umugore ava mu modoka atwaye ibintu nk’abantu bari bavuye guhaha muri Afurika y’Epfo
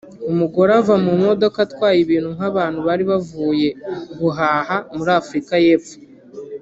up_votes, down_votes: 1, 2